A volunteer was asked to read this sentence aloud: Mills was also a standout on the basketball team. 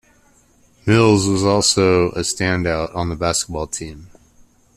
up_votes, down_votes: 2, 1